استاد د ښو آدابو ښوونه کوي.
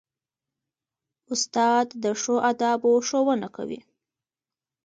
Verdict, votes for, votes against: accepted, 2, 1